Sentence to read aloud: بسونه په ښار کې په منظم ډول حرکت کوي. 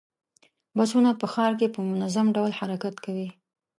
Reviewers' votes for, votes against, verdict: 2, 0, accepted